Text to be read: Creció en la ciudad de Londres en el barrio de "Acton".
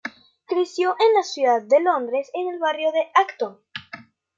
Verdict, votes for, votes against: accepted, 2, 0